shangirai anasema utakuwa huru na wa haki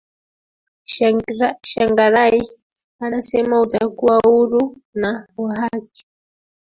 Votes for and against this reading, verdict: 0, 2, rejected